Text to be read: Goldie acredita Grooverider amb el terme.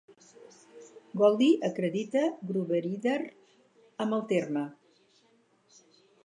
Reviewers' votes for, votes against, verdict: 2, 4, rejected